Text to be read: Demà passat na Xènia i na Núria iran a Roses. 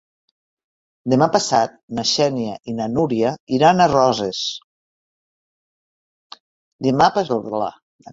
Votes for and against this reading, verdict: 1, 2, rejected